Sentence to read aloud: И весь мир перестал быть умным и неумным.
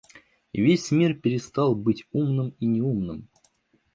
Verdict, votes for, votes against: accepted, 2, 0